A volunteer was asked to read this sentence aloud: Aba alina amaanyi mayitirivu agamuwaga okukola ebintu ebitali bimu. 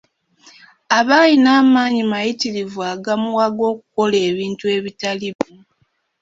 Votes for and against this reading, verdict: 2, 1, accepted